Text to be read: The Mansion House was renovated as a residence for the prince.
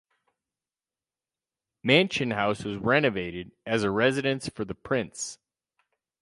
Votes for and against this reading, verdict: 2, 4, rejected